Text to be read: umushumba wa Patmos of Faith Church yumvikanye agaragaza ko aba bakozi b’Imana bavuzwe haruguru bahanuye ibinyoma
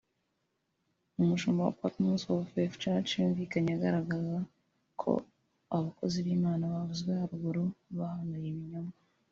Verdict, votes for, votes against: accepted, 2, 1